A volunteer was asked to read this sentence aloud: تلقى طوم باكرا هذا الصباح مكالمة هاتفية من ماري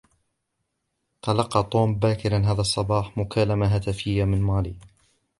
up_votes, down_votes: 2, 0